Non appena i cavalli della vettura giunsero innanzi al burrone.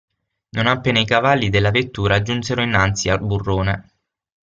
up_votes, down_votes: 6, 0